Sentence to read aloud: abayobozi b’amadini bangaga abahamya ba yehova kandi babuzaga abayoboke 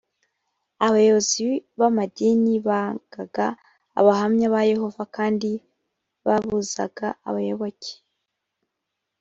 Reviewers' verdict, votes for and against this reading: rejected, 0, 2